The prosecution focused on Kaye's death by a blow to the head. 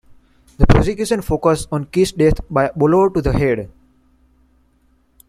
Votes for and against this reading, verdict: 0, 2, rejected